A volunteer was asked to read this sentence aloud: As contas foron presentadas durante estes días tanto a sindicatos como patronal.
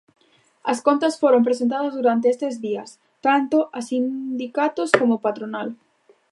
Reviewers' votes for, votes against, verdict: 1, 2, rejected